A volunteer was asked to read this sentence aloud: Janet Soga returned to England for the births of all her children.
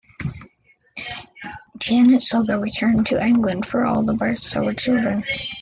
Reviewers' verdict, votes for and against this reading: rejected, 0, 2